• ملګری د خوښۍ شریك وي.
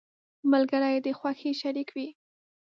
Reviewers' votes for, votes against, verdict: 1, 2, rejected